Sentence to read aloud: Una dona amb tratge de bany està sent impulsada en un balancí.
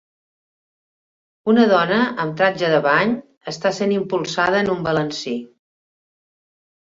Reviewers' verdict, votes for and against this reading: accepted, 2, 0